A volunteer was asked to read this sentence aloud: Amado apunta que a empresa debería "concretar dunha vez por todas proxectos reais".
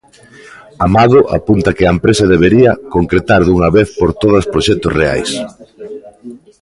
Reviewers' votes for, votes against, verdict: 0, 2, rejected